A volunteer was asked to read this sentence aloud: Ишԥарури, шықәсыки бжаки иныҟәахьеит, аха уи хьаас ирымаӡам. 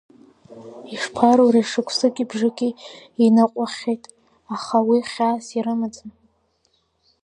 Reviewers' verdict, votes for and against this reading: rejected, 1, 2